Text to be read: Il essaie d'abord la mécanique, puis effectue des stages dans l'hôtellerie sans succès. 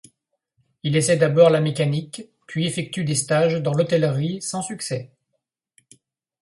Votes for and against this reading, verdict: 2, 0, accepted